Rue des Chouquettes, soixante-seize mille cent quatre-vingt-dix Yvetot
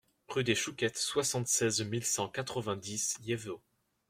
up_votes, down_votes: 0, 2